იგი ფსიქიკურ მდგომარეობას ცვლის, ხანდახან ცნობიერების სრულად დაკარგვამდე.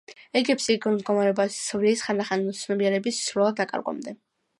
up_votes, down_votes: 2, 0